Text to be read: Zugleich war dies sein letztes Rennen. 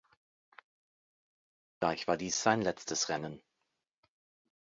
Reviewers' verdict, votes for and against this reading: rejected, 0, 2